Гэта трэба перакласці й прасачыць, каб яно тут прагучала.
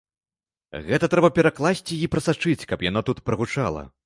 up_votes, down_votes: 2, 0